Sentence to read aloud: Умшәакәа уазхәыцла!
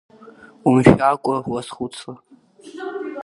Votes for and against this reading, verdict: 2, 1, accepted